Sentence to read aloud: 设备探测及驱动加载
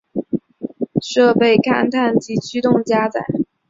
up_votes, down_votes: 0, 2